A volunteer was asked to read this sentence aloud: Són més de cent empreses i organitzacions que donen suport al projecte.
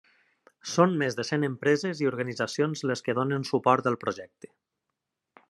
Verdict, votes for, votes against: rejected, 1, 2